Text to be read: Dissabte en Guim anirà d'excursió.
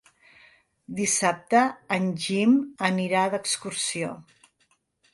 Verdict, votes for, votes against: rejected, 0, 3